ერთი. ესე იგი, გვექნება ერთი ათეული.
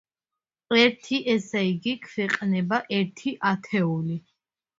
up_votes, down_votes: 0, 2